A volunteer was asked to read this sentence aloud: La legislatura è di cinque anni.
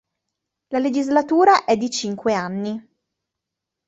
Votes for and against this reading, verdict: 3, 0, accepted